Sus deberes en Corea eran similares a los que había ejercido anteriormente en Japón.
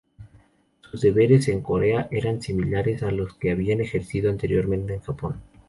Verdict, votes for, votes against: accepted, 2, 0